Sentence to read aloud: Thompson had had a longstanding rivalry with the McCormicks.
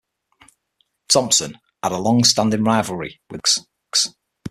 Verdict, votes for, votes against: rejected, 0, 6